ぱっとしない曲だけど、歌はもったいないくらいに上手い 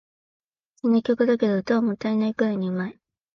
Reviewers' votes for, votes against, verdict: 0, 2, rejected